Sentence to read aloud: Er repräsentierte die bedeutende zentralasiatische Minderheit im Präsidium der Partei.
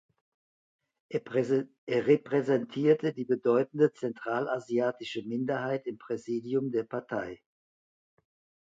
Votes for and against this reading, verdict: 0, 2, rejected